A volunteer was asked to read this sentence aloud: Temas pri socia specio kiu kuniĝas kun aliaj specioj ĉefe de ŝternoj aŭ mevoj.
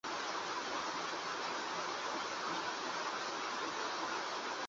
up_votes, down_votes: 0, 2